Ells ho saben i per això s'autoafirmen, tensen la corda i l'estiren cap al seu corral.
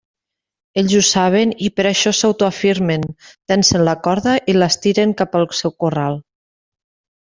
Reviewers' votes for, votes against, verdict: 2, 0, accepted